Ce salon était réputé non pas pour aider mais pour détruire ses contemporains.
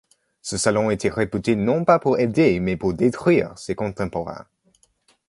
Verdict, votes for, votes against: accepted, 2, 0